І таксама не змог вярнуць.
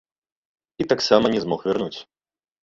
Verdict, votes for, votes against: accepted, 2, 1